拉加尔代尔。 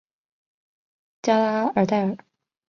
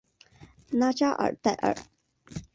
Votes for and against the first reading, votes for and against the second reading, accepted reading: 1, 2, 2, 0, second